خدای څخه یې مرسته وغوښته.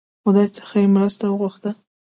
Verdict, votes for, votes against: rejected, 1, 2